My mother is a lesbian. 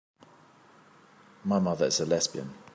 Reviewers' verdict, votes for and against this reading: accepted, 3, 0